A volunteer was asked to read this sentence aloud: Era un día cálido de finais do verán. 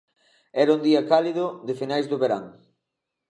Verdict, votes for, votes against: accepted, 2, 0